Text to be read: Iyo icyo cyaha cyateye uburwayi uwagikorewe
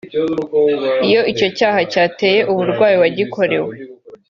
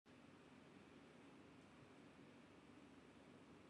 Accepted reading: first